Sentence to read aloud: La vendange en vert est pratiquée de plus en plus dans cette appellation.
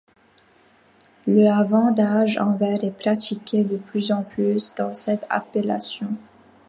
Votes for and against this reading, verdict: 1, 2, rejected